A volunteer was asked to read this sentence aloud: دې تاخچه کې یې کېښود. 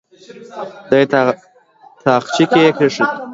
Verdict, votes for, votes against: rejected, 1, 2